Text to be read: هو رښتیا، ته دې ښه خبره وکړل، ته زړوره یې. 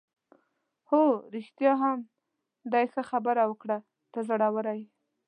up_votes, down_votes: 0, 2